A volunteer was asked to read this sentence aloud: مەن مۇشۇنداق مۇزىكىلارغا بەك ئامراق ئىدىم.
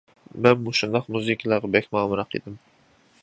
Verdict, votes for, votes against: rejected, 0, 2